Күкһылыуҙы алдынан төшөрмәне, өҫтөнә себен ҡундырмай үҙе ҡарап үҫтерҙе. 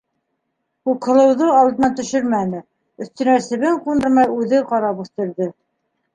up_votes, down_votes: 1, 2